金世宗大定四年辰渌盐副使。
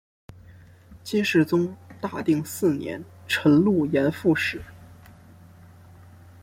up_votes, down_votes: 2, 0